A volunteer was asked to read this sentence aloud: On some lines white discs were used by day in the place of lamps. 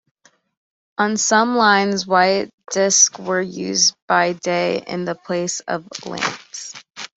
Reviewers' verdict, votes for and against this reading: accepted, 2, 0